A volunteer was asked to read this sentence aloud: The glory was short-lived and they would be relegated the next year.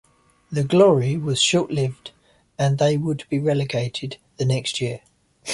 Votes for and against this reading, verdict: 2, 1, accepted